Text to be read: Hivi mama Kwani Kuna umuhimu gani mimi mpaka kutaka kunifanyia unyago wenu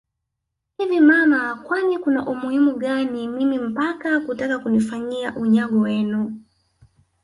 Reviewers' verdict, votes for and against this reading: rejected, 1, 2